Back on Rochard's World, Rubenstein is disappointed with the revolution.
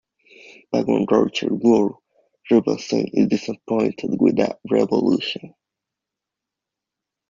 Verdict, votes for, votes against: rejected, 0, 2